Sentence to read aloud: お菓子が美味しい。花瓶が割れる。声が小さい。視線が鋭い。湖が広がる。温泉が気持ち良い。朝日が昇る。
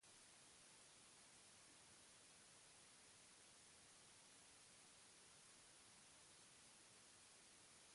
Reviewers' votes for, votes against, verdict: 0, 2, rejected